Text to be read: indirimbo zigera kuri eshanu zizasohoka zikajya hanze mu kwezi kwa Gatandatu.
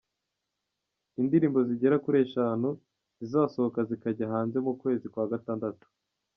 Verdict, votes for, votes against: accepted, 2, 0